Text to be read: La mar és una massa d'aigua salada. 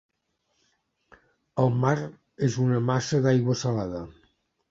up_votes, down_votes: 0, 2